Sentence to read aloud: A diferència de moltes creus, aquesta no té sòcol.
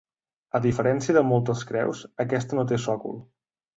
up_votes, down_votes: 3, 0